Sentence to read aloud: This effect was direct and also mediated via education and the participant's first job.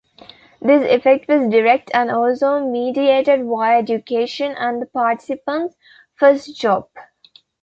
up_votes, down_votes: 2, 1